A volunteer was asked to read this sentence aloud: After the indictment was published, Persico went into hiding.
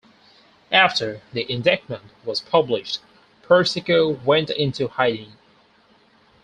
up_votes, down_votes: 4, 2